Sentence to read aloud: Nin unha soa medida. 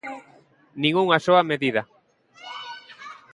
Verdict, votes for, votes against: accepted, 2, 0